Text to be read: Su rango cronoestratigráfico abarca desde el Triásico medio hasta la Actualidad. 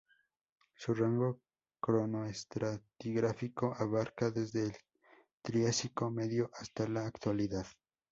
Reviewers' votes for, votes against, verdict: 2, 2, rejected